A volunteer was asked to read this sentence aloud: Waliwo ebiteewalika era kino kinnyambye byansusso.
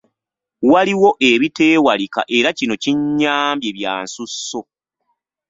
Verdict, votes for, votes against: accepted, 2, 0